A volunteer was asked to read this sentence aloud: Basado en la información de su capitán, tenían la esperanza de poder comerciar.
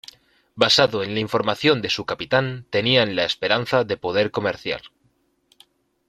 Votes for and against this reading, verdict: 2, 0, accepted